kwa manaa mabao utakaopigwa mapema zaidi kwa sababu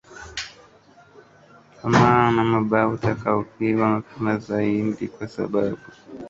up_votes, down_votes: 0, 2